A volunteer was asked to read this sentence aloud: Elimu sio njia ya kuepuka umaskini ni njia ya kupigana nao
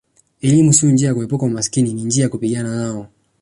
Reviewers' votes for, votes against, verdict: 2, 1, accepted